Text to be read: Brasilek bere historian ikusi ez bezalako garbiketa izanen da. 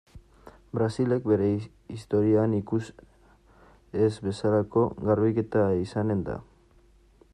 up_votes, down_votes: 1, 2